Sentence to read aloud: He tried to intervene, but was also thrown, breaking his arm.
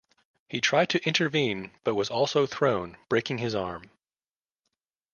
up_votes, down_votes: 2, 0